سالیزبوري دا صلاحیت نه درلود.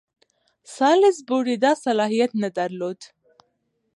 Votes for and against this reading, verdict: 2, 1, accepted